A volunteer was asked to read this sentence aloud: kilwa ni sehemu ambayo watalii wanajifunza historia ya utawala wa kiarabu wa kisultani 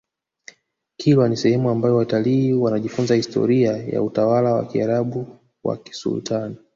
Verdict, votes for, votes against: accepted, 3, 0